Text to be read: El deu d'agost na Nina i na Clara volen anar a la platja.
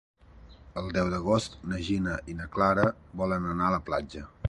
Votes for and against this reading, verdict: 0, 3, rejected